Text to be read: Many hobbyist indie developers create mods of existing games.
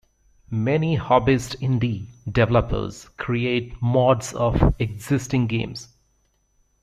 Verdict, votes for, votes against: rejected, 0, 2